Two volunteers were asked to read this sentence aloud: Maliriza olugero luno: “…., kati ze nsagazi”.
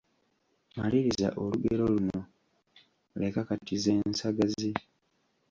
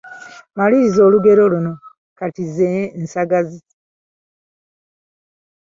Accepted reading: second